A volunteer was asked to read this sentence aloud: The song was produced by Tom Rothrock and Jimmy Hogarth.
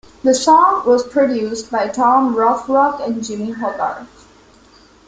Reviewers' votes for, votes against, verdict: 2, 0, accepted